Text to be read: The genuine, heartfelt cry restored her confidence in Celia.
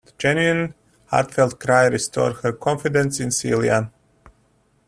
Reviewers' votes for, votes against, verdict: 2, 0, accepted